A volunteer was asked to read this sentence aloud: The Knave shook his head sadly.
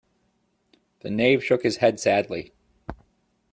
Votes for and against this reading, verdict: 2, 0, accepted